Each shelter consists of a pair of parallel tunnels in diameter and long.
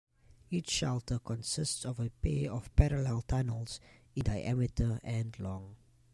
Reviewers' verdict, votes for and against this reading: rejected, 1, 2